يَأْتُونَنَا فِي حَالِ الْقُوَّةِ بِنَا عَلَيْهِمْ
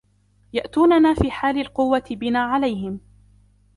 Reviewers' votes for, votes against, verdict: 2, 1, accepted